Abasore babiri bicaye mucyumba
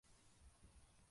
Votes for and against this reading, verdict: 0, 2, rejected